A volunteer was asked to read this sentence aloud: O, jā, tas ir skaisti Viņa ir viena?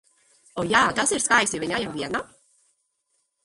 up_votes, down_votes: 0, 2